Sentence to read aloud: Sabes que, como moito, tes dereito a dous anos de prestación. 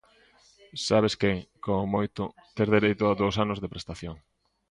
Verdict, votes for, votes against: rejected, 1, 2